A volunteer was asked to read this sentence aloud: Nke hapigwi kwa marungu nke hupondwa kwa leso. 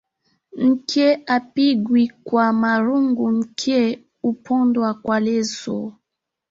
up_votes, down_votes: 6, 0